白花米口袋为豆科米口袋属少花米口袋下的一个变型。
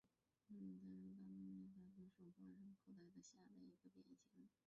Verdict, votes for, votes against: rejected, 0, 3